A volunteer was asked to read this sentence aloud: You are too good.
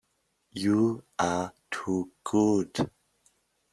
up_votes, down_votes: 2, 0